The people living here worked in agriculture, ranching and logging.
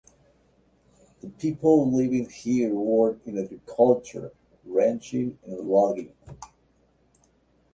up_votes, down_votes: 2, 0